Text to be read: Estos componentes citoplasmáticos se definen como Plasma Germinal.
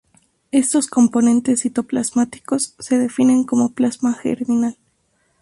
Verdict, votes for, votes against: accepted, 4, 0